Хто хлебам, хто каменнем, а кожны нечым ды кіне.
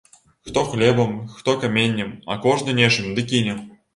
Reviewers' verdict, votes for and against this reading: accepted, 2, 0